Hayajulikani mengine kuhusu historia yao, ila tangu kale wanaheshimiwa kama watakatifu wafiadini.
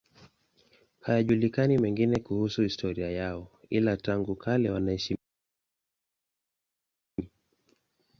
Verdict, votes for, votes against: rejected, 0, 2